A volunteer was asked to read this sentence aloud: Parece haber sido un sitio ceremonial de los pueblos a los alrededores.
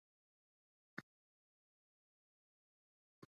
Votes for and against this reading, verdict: 0, 2, rejected